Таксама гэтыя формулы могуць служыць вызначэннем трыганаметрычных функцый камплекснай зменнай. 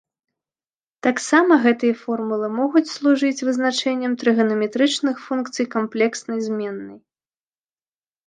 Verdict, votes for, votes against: accepted, 2, 0